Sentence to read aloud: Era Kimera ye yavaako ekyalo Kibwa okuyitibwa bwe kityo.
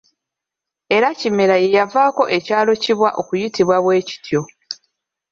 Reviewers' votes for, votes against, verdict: 0, 2, rejected